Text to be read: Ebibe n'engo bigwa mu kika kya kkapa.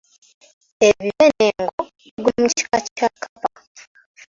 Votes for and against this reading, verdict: 0, 3, rejected